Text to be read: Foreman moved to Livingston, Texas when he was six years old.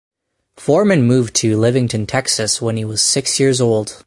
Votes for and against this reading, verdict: 2, 4, rejected